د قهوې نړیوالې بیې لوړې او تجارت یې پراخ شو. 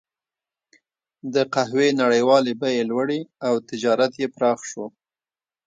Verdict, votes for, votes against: accepted, 3, 0